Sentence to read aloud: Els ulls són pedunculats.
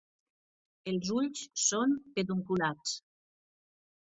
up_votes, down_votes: 3, 1